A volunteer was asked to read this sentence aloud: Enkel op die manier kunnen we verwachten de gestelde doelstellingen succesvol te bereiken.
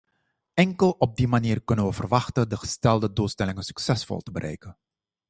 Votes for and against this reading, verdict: 2, 0, accepted